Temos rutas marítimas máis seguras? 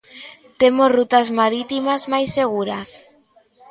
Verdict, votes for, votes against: accepted, 2, 0